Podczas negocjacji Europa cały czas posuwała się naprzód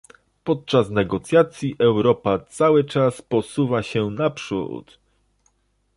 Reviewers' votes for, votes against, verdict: 0, 2, rejected